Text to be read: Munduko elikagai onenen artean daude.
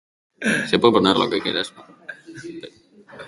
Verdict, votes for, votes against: rejected, 1, 2